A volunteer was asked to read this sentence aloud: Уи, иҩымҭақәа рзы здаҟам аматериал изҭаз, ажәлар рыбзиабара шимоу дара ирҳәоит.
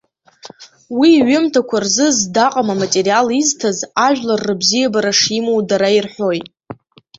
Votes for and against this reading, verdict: 3, 1, accepted